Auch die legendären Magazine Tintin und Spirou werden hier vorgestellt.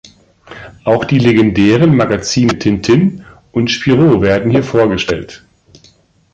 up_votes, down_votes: 2, 0